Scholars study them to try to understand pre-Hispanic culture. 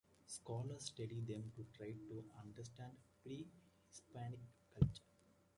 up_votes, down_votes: 2, 0